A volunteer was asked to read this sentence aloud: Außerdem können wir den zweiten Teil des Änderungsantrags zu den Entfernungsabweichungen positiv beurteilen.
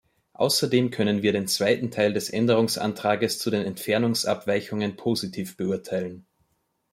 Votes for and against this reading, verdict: 2, 1, accepted